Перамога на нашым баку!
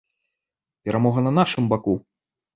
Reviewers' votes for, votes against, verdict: 2, 0, accepted